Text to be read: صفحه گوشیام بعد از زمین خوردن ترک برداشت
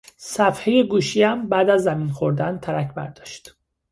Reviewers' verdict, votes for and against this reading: accepted, 2, 0